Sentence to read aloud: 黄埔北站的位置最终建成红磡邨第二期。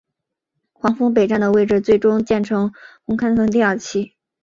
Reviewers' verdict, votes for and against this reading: rejected, 0, 2